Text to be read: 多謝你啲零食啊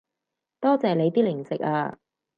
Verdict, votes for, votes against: accepted, 4, 0